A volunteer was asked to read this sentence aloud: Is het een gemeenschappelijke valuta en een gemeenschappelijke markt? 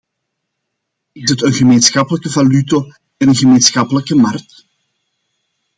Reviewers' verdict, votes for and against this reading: accepted, 2, 0